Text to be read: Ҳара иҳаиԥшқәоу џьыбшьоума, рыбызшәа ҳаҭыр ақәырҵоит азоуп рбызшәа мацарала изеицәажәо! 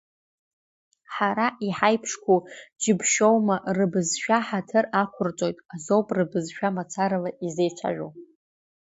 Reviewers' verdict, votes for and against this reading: accepted, 2, 0